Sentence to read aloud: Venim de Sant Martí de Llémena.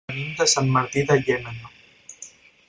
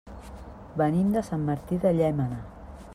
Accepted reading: second